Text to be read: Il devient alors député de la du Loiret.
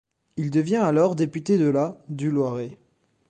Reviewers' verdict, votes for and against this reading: accepted, 2, 0